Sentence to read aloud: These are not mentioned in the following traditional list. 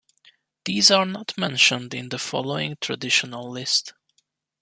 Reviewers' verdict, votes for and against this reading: accepted, 2, 0